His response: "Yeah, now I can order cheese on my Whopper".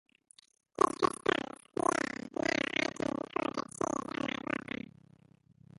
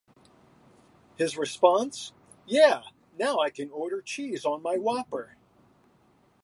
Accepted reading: second